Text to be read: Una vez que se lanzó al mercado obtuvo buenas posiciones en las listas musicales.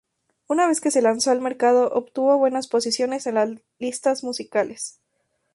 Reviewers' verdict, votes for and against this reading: rejected, 0, 2